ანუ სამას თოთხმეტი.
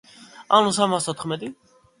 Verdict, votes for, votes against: accepted, 2, 0